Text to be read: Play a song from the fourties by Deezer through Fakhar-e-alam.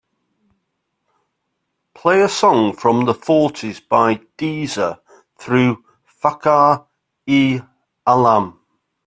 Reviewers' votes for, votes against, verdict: 2, 0, accepted